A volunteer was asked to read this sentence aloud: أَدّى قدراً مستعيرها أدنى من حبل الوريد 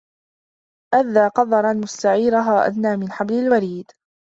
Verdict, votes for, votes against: accepted, 2, 0